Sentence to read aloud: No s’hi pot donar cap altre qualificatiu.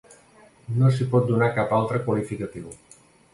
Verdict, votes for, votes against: accepted, 2, 0